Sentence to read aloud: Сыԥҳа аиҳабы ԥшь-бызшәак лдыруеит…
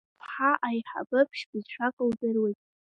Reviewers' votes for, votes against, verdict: 2, 0, accepted